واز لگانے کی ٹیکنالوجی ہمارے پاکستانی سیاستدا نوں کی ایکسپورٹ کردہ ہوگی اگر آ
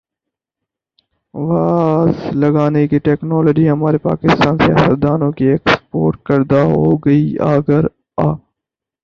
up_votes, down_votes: 4, 0